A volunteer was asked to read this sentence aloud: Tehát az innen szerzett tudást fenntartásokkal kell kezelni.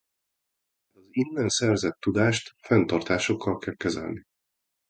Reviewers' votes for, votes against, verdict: 1, 2, rejected